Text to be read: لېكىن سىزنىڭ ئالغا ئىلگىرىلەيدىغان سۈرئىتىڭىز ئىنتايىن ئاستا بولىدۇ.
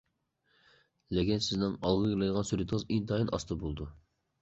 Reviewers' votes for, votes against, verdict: 0, 2, rejected